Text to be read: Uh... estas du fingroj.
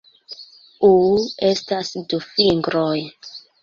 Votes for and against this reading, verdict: 2, 0, accepted